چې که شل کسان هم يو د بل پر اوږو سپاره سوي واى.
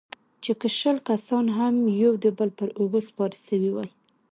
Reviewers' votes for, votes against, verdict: 2, 0, accepted